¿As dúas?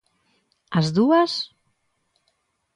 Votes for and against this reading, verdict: 2, 0, accepted